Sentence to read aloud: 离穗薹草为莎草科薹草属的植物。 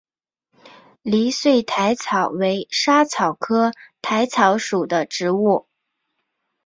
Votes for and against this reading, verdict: 3, 0, accepted